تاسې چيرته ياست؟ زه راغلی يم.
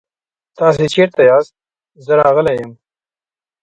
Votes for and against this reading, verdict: 1, 2, rejected